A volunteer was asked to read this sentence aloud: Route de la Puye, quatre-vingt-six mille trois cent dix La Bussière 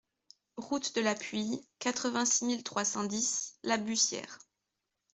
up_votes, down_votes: 2, 0